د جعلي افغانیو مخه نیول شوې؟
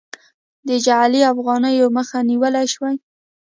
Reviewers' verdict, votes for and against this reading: rejected, 1, 2